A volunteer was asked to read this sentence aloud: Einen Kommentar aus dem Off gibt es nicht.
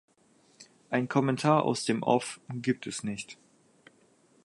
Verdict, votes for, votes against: rejected, 2, 4